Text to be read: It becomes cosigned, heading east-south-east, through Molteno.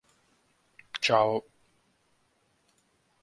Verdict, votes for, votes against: rejected, 0, 2